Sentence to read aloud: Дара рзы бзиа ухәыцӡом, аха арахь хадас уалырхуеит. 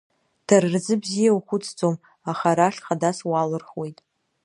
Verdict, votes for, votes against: rejected, 1, 2